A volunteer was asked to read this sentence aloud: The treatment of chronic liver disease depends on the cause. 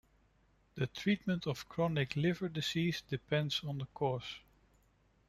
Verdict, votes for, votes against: accepted, 2, 0